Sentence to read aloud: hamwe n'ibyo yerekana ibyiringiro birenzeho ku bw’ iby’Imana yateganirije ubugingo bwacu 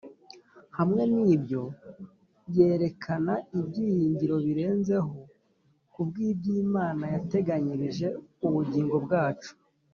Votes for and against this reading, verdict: 2, 0, accepted